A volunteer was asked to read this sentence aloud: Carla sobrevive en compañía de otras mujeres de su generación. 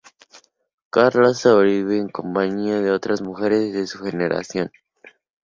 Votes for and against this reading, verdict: 2, 0, accepted